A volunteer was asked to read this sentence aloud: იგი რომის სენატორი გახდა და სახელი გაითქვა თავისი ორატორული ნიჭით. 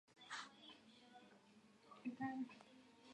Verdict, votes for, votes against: rejected, 0, 2